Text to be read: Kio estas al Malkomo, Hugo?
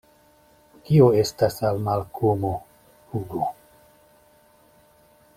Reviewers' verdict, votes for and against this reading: accepted, 2, 0